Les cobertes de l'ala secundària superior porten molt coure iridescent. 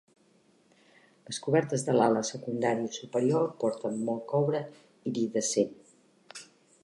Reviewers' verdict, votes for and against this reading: accepted, 3, 0